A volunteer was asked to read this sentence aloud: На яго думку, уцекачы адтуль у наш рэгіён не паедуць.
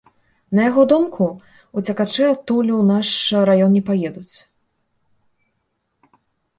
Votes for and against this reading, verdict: 0, 2, rejected